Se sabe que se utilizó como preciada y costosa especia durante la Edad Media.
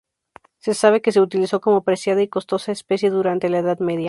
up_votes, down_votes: 2, 0